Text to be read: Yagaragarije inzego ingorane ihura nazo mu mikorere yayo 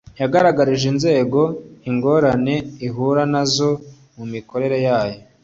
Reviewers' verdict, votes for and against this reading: accepted, 2, 0